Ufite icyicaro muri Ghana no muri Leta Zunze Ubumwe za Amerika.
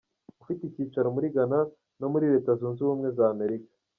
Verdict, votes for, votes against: rejected, 0, 2